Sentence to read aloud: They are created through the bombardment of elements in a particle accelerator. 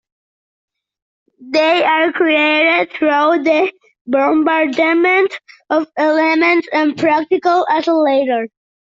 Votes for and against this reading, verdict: 0, 2, rejected